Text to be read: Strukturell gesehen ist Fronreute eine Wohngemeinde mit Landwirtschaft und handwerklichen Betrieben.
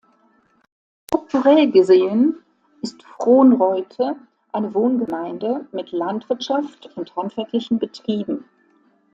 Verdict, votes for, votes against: accepted, 2, 0